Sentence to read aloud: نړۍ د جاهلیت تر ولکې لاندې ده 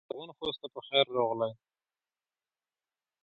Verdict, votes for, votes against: rejected, 0, 2